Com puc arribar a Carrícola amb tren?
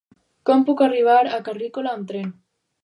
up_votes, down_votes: 2, 4